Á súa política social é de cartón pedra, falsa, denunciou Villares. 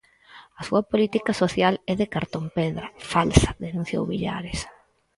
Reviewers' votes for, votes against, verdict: 2, 4, rejected